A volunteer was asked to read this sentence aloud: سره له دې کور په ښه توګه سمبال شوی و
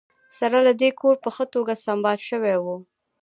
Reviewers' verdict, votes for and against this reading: rejected, 1, 2